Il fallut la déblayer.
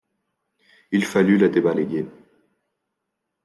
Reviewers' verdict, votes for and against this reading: rejected, 1, 2